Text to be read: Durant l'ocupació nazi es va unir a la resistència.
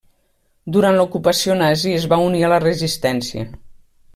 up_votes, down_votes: 1, 2